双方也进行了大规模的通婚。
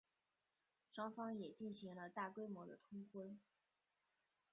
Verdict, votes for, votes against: accepted, 2, 0